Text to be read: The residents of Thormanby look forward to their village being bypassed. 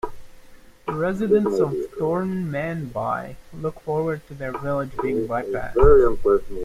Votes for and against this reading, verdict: 0, 2, rejected